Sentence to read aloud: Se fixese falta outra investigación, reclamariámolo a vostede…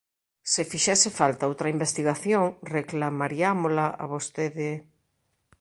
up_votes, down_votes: 1, 2